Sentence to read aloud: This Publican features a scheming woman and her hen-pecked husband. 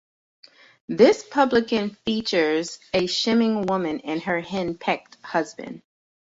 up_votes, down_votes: 0, 2